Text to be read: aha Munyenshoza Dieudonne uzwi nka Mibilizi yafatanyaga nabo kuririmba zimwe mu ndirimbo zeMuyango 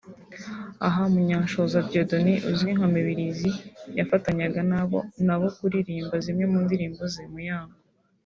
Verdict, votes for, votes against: rejected, 1, 2